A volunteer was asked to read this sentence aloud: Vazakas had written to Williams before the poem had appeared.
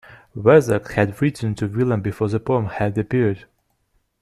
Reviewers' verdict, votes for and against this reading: accepted, 2, 0